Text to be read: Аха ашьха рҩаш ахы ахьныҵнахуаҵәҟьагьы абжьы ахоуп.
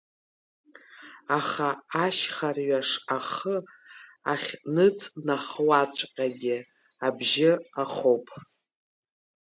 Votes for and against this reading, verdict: 2, 1, accepted